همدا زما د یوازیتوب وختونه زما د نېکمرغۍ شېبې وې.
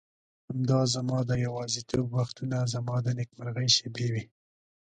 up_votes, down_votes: 2, 1